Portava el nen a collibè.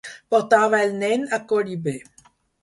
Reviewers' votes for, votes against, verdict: 4, 0, accepted